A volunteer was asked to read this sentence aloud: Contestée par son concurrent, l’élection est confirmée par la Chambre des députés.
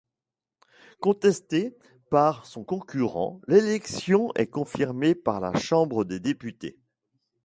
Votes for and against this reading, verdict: 2, 1, accepted